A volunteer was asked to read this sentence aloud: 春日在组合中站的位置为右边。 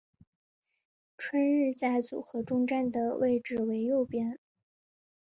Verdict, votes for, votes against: accepted, 2, 0